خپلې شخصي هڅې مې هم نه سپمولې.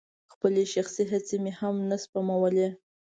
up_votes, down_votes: 2, 0